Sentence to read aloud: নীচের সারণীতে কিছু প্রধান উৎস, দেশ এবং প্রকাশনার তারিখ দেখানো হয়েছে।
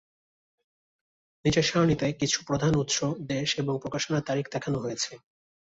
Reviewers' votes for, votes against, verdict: 2, 0, accepted